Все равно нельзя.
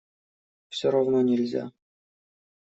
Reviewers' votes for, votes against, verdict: 2, 0, accepted